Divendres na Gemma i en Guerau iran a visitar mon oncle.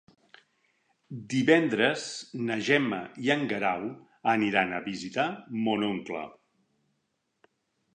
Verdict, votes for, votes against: rejected, 0, 2